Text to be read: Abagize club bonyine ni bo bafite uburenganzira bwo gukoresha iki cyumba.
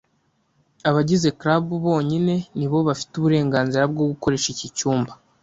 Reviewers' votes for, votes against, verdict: 2, 0, accepted